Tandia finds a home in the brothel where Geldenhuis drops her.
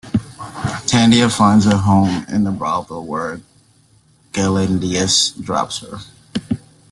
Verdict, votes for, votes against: rejected, 0, 2